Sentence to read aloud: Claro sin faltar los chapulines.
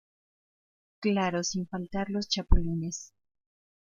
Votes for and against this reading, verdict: 2, 0, accepted